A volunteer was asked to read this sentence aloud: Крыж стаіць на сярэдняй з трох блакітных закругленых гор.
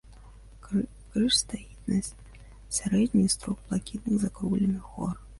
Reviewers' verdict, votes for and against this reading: rejected, 1, 2